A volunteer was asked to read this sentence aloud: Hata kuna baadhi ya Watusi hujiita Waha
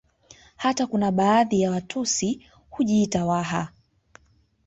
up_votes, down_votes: 2, 1